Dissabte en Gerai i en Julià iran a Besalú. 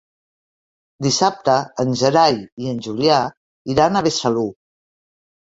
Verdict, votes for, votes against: accepted, 3, 1